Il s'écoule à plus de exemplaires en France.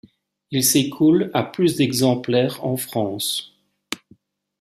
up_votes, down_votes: 2, 1